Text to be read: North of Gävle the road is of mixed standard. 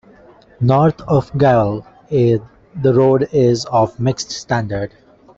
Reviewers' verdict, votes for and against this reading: rejected, 0, 2